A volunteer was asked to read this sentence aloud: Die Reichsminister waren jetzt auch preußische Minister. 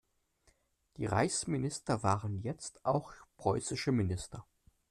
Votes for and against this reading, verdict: 2, 0, accepted